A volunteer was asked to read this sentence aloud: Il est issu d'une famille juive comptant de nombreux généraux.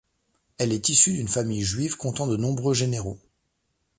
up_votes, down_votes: 0, 2